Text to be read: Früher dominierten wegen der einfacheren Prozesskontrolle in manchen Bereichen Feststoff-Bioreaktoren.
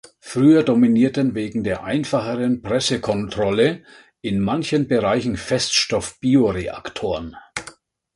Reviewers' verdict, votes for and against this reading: rejected, 0, 2